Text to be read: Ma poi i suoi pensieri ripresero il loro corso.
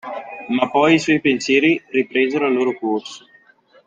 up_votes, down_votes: 2, 0